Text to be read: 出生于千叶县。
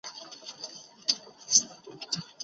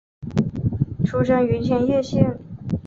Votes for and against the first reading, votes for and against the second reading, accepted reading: 0, 3, 2, 0, second